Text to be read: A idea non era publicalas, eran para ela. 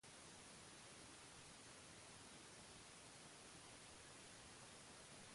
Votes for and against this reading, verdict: 0, 2, rejected